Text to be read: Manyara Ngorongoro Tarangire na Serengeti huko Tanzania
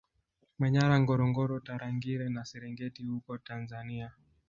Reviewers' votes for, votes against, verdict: 1, 2, rejected